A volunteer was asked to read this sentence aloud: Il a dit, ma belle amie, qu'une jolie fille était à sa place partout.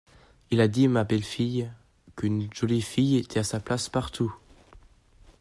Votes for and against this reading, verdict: 0, 2, rejected